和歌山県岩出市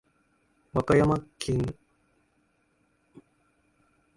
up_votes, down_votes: 0, 3